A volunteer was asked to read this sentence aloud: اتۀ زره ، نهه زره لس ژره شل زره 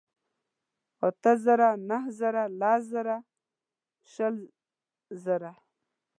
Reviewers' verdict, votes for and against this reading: rejected, 1, 2